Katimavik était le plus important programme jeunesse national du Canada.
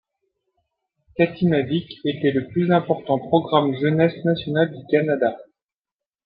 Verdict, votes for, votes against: accepted, 2, 0